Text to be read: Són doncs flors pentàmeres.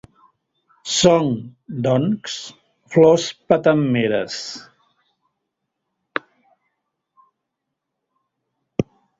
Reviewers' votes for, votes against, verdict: 0, 2, rejected